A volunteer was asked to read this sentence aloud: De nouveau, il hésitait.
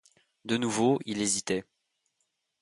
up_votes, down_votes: 2, 0